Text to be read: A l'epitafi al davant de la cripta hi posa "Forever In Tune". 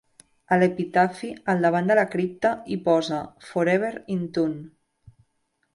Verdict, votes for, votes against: accepted, 2, 0